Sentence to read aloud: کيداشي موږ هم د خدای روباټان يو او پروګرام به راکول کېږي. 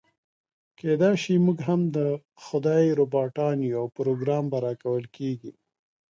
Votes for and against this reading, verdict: 2, 0, accepted